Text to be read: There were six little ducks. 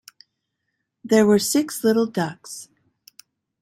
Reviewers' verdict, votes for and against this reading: accepted, 2, 0